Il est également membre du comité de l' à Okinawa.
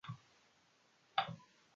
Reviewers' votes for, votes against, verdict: 0, 2, rejected